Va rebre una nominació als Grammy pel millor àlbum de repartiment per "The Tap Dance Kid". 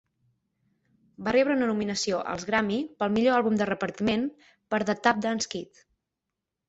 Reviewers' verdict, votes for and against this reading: rejected, 0, 6